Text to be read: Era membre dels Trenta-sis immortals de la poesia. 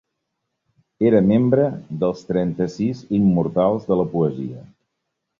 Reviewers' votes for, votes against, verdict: 3, 0, accepted